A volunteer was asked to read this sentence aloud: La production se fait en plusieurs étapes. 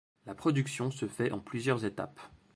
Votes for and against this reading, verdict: 2, 0, accepted